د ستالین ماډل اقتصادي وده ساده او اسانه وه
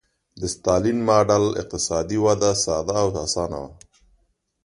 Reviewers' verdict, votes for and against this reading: accepted, 2, 0